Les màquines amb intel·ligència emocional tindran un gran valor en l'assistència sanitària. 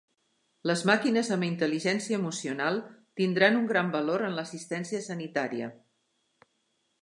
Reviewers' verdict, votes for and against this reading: accepted, 3, 0